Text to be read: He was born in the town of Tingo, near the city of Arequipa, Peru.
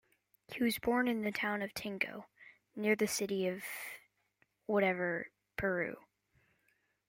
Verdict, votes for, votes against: rejected, 0, 2